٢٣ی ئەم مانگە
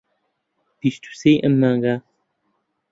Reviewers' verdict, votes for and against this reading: rejected, 0, 2